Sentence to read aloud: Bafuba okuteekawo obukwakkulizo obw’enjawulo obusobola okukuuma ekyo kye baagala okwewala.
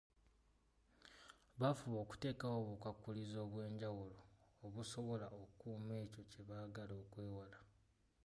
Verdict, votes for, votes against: accepted, 3, 0